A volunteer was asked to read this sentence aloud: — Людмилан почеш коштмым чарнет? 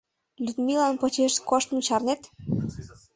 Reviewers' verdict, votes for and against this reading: accepted, 2, 0